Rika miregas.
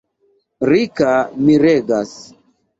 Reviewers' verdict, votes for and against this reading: accepted, 2, 0